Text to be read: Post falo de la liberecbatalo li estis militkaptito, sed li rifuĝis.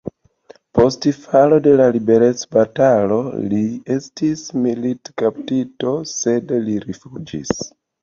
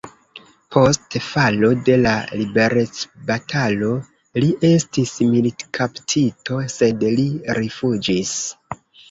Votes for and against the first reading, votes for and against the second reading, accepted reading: 2, 1, 0, 2, first